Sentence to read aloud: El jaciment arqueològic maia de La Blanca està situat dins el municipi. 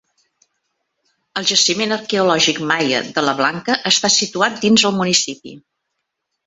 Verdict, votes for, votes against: accepted, 3, 0